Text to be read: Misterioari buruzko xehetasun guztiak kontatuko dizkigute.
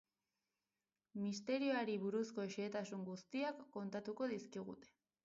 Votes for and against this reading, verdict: 2, 4, rejected